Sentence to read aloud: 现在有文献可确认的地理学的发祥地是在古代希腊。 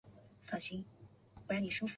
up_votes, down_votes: 1, 2